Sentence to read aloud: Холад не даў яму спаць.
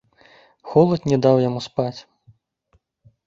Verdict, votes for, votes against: accepted, 2, 0